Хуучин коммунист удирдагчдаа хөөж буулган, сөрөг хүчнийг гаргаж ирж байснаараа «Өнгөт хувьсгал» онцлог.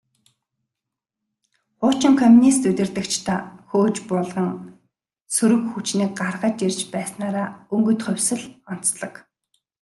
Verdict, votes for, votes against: accepted, 2, 0